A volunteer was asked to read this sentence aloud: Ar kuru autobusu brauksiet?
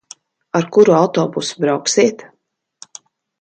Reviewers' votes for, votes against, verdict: 2, 0, accepted